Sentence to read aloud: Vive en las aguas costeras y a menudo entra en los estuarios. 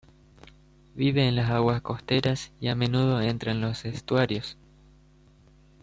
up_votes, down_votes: 2, 1